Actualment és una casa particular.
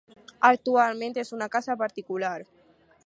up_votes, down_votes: 4, 0